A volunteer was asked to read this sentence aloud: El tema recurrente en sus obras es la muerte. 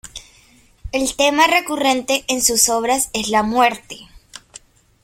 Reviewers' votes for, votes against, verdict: 2, 0, accepted